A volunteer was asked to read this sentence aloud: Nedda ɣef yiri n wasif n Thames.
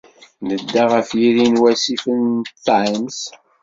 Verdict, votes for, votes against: accepted, 2, 0